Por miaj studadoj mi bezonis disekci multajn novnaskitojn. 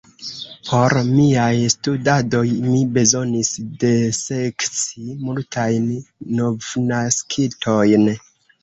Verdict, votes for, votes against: rejected, 0, 2